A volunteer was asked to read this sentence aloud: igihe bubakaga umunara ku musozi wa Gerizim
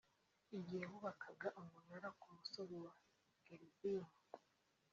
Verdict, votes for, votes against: accepted, 2, 1